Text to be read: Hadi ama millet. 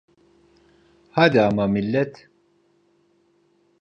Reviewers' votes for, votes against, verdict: 2, 0, accepted